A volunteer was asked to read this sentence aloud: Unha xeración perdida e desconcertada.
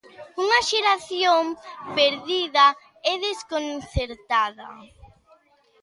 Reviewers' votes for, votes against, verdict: 3, 0, accepted